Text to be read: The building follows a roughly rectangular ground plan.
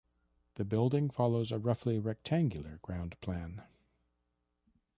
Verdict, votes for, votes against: rejected, 1, 2